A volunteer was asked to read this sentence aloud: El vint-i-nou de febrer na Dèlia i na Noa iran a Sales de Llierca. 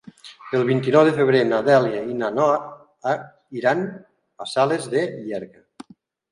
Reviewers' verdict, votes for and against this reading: rejected, 1, 2